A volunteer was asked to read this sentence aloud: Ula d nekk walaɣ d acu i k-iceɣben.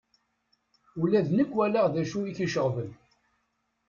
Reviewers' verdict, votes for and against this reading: rejected, 1, 2